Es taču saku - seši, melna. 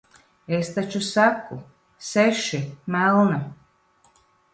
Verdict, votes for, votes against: accepted, 2, 0